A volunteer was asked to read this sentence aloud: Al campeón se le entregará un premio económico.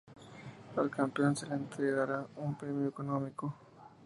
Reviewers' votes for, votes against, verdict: 2, 0, accepted